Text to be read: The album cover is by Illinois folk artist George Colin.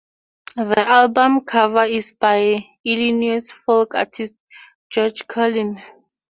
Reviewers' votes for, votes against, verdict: 2, 2, rejected